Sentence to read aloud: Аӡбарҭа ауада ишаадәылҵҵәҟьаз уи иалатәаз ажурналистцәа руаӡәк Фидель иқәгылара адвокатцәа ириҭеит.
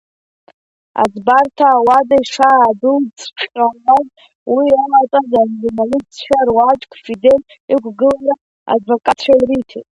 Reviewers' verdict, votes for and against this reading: rejected, 0, 2